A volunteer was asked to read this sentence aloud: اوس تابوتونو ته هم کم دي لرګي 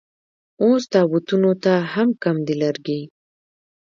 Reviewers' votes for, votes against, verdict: 1, 2, rejected